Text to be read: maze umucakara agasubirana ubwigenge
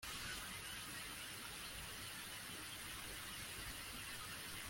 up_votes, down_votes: 0, 2